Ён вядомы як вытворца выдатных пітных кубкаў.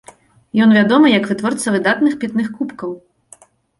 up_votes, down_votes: 2, 0